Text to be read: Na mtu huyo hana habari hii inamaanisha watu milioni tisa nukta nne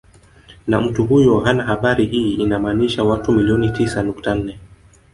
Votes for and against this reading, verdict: 1, 2, rejected